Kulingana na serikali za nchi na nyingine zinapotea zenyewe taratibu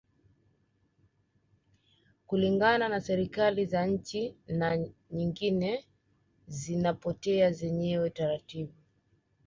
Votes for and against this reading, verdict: 2, 0, accepted